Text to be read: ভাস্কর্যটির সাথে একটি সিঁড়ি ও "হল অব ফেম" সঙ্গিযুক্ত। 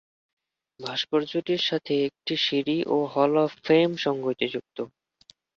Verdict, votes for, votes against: rejected, 1, 2